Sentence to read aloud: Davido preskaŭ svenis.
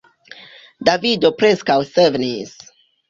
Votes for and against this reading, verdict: 1, 2, rejected